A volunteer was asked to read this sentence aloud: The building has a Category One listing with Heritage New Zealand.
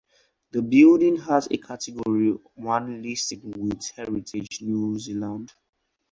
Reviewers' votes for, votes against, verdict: 4, 0, accepted